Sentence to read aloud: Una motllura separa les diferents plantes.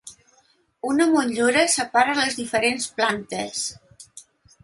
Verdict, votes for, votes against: accepted, 2, 0